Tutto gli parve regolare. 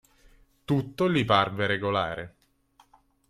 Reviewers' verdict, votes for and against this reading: accepted, 2, 0